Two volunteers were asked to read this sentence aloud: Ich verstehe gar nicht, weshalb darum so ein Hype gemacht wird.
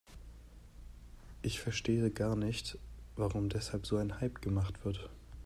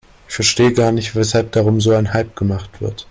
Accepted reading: second